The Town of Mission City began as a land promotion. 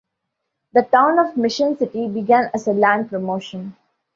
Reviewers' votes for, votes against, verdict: 2, 0, accepted